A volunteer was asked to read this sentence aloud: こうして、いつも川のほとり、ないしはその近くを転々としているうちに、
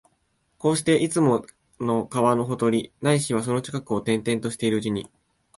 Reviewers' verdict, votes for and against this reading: accepted, 2, 0